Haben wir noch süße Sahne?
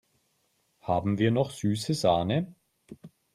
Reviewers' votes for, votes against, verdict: 3, 0, accepted